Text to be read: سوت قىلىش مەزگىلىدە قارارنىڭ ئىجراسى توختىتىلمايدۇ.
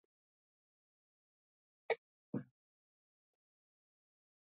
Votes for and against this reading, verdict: 0, 2, rejected